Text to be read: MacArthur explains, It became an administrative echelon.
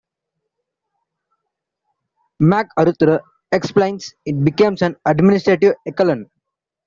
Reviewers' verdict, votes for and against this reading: accepted, 2, 1